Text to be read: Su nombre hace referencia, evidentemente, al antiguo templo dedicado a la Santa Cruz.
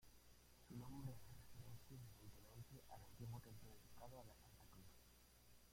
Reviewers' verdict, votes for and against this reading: rejected, 0, 2